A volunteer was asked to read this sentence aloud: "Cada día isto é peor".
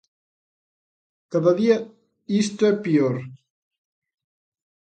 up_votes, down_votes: 2, 0